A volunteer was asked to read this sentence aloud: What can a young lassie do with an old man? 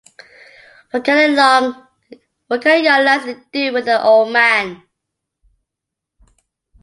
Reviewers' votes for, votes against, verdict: 0, 2, rejected